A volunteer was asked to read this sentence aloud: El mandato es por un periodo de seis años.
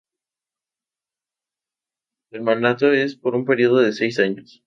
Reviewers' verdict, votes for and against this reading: accepted, 2, 0